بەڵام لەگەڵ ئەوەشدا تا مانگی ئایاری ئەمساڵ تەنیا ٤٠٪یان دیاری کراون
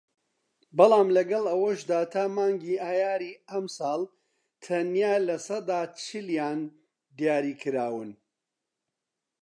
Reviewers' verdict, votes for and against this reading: rejected, 0, 2